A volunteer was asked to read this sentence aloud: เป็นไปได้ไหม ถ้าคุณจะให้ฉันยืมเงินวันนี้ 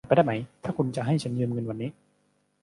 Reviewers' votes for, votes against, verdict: 0, 2, rejected